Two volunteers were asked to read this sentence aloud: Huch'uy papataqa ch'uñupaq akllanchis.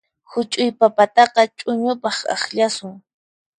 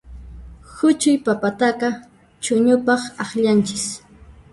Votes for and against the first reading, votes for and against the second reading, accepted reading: 4, 2, 0, 2, first